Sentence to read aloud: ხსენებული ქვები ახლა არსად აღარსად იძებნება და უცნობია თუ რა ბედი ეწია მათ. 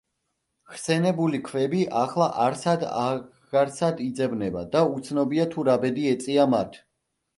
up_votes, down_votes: 0, 2